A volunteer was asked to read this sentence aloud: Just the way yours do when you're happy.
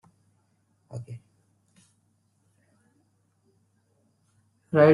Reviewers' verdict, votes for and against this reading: rejected, 0, 2